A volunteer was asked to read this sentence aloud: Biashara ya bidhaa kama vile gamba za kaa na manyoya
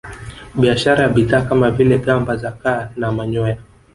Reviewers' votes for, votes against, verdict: 3, 0, accepted